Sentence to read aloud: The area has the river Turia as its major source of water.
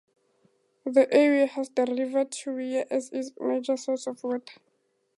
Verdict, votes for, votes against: rejected, 0, 2